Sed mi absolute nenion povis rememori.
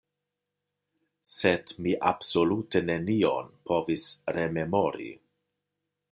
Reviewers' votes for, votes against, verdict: 2, 0, accepted